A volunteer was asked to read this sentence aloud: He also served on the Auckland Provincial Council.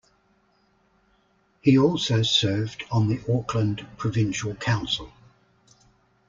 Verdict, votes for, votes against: accepted, 2, 0